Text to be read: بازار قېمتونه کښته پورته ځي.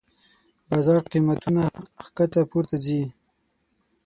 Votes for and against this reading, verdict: 3, 6, rejected